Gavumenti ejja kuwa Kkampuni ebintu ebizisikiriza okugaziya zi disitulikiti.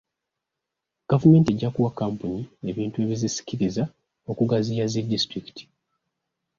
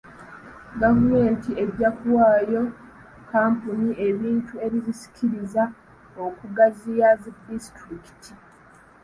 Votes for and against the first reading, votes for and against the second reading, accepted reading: 2, 0, 0, 2, first